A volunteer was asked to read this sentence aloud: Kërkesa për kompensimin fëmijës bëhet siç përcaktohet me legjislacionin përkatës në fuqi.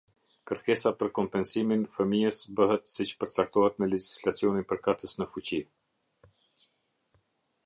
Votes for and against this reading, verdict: 2, 0, accepted